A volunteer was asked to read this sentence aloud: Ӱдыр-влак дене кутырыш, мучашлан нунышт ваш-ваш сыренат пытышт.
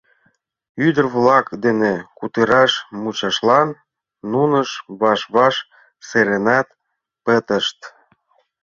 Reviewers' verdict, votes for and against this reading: rejected, 1, 2